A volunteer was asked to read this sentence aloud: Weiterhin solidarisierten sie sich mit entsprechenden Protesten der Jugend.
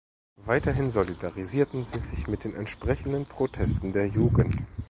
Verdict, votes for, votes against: accepted, 2, 0